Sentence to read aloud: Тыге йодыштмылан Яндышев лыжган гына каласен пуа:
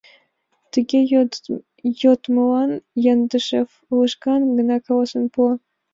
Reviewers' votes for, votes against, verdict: 1, 2, rejected